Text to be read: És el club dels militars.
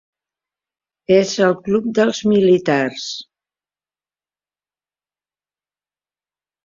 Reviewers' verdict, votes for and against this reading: accepted, 2, 0